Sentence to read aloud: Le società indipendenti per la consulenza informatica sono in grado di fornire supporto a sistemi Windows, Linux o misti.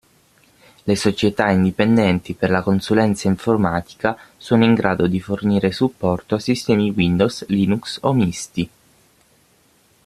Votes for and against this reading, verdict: 6, 0, accepted